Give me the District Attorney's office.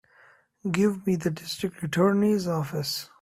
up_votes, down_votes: 2, 0